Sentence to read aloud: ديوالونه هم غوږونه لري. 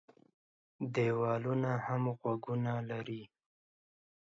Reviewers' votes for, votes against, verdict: 2, 0, accepted